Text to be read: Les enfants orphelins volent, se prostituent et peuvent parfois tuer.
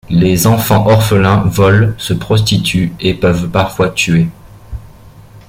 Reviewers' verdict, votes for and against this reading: accepted, 2, 0